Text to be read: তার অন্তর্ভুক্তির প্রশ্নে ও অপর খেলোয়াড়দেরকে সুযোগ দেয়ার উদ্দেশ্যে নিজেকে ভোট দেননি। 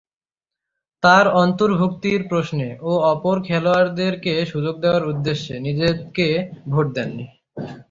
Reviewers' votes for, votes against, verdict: 9, 0, accepted